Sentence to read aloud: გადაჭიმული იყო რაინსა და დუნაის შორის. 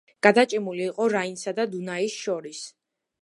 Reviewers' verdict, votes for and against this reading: accepted, 2, 0